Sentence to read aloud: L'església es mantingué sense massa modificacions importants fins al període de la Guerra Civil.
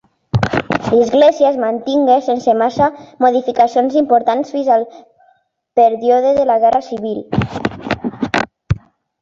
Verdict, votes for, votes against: accepted, 2, 0